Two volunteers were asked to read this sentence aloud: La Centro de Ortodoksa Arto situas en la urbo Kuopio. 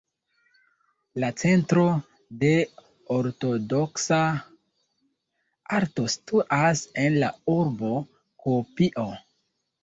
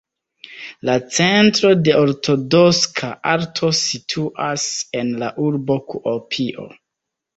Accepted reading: first